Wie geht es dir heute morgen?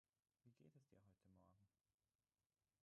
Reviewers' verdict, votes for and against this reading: rejected, 0, 6